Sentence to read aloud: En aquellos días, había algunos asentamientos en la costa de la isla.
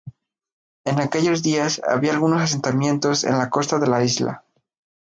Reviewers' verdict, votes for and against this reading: accepted, 2, 0